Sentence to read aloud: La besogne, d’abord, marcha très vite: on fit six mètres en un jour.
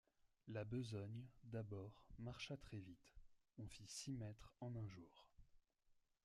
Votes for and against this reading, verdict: 1, 2, rejected